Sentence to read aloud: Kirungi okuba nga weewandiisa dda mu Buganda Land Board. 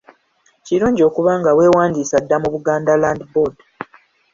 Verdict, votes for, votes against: accepted, 3, 0